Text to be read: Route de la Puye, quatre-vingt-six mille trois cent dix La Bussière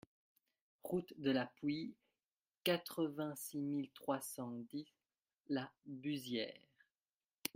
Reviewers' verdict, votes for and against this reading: rejected, 0, 2